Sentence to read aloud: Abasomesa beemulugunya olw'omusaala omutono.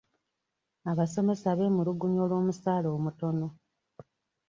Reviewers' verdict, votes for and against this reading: accepted, 2, 0